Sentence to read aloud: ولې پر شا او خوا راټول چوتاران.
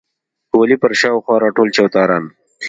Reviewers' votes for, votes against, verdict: 2, 0, accepted